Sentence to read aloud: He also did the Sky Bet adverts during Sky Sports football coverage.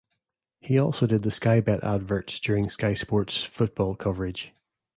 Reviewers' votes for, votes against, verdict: 2, 0, accepted